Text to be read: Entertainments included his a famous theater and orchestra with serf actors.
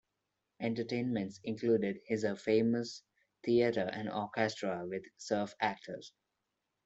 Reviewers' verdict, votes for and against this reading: rejected, 0, 2